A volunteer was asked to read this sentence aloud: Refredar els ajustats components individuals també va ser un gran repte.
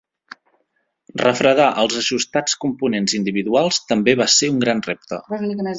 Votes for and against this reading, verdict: 1, 2, rejected